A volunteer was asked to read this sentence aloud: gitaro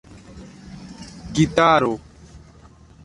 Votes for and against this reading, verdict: 2, 0, accepted